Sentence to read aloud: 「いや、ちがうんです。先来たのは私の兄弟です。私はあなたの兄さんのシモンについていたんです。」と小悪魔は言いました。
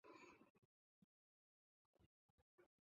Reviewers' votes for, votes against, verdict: 0, 2, rejected